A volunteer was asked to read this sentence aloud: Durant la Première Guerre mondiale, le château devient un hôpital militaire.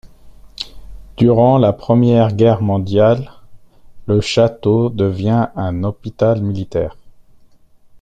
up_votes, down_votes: 4, 0